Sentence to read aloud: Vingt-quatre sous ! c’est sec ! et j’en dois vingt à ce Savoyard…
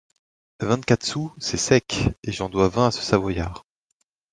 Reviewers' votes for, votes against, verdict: 2, 0, accepted